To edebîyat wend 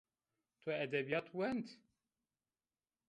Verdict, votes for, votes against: accepted, 2, 0